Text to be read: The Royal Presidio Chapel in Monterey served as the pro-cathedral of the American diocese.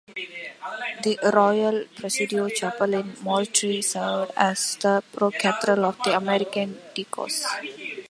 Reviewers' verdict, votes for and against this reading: rejected, 1, 2